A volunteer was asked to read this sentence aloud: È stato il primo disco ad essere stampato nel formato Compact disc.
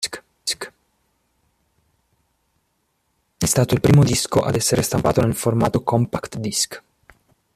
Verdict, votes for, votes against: rejected, 0, 2